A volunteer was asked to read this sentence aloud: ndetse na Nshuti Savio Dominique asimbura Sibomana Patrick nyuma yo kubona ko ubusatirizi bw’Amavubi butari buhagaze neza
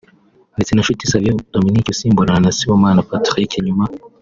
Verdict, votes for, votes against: rejected, 0, 3